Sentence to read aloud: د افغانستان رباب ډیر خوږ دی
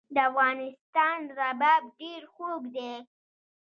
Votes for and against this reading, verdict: 1, 2, rejected